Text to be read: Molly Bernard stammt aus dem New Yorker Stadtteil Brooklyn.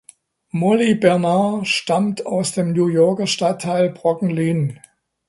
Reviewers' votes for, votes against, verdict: 0, 2, rejected